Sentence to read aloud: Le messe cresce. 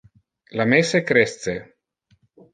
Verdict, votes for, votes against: rejected, 1, 2